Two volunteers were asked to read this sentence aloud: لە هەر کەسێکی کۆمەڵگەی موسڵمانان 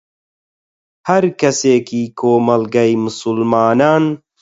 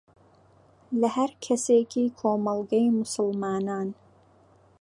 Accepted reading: second